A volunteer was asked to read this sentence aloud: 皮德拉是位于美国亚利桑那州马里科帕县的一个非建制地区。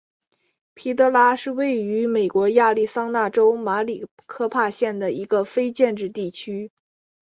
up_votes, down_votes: 2, 0